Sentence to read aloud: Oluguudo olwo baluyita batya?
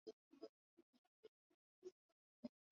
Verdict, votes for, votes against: rejected, 0, 2